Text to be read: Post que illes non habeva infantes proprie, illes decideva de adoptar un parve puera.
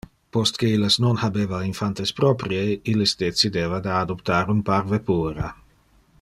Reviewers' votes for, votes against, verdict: 1, 2, rejected